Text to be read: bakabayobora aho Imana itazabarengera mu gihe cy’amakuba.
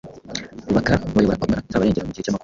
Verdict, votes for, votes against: rejected, 1, 2